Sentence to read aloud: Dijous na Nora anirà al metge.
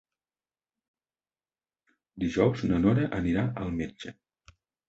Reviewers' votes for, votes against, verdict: 3, 0, accepted